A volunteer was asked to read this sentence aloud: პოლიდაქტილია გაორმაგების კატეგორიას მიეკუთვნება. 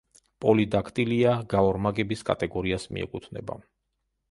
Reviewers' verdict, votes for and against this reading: accepted, 2, 0